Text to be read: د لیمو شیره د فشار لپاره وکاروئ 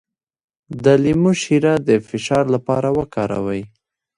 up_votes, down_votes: 0, 2